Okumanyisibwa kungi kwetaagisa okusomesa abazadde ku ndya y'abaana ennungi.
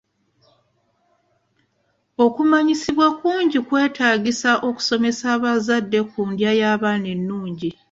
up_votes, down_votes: 2, 1